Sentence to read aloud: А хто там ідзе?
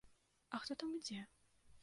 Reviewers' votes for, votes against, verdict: 2, 0, accepted